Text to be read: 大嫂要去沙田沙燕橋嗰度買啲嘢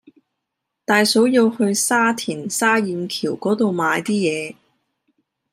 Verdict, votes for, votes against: accepted, 2, 0